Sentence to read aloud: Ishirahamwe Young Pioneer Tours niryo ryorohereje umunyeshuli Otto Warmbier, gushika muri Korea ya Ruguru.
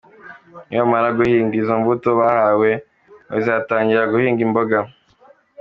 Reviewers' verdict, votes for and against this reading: rejected, 0, 2